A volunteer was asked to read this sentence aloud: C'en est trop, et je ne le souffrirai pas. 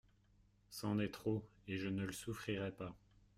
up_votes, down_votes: 2, 0